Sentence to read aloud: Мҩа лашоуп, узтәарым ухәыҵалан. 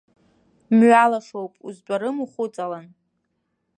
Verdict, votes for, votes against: accepted, 2, 0